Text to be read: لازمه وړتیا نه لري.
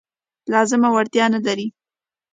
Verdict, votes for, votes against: accepted, 2, 0